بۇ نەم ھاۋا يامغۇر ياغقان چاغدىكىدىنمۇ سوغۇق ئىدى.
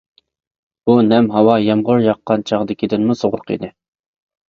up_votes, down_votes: 3, 0